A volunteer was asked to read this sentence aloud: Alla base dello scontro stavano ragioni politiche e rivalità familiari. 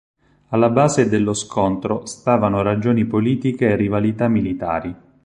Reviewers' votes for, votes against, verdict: 0, 4, rejected